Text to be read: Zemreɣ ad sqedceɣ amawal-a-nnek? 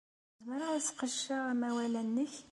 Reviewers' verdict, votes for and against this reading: accepted, 2, 0